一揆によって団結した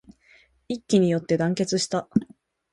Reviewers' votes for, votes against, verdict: 0, 2, rejected